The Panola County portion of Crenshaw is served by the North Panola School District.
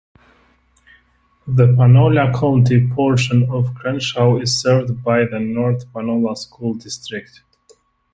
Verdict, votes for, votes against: rejected, 1, 2